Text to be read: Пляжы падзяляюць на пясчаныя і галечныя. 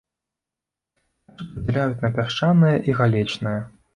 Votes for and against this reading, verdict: 1, 2, rejected